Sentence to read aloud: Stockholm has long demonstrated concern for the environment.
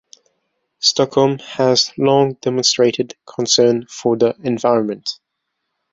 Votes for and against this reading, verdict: 2, 0, accepted